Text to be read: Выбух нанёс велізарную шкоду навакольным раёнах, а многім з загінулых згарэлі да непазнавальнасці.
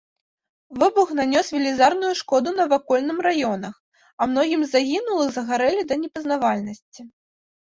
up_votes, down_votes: 2, 1